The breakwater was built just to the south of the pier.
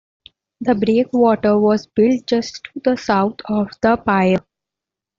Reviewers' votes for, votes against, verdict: 1, 2, rejected